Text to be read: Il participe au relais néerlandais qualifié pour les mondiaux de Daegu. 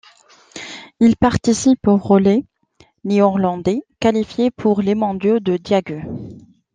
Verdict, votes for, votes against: rejected, 1, 2